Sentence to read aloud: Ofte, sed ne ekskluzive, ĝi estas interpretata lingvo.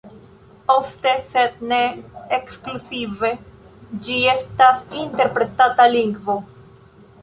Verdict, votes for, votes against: accepted, 2, 0